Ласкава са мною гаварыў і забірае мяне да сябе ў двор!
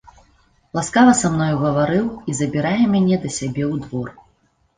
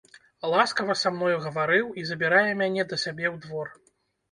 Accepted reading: first